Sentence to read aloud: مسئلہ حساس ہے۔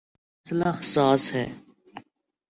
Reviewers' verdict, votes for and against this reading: rejected, 0, 2